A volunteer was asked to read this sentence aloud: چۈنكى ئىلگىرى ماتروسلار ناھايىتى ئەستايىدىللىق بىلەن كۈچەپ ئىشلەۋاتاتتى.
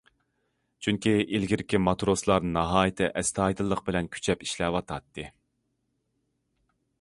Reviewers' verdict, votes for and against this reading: rejected, 0, 2